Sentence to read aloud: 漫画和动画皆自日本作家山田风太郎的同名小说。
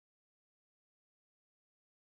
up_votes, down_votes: 0, 2